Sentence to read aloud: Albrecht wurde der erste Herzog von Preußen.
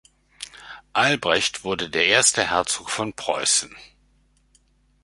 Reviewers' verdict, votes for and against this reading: accepted, 2, 0